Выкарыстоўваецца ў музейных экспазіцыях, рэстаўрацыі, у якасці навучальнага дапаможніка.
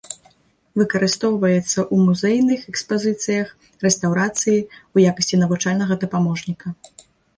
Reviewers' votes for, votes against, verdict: 1, 2, rejected